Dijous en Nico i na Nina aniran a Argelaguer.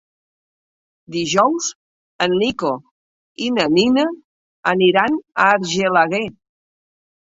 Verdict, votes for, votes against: accepted, 4, 0